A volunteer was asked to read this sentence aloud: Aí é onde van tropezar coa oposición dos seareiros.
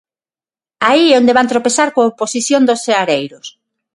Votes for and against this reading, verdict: 6, 0, accepted